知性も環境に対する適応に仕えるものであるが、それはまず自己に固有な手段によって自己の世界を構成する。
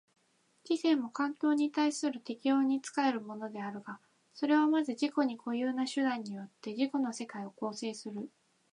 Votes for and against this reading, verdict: 2, 1, accepted